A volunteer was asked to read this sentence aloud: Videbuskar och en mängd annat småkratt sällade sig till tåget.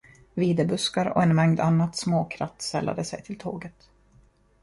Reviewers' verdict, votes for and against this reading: accepted, 2, 0